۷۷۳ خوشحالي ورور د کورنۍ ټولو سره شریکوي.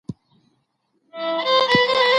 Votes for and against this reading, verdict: 0, 2, rejected